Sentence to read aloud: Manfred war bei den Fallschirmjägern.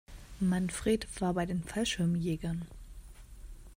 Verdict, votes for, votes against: accepted, 2, 0